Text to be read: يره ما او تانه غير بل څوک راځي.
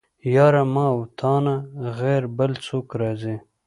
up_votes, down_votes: 2, 0